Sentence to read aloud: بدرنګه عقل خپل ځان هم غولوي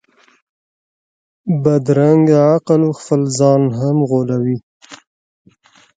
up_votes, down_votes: 2, 0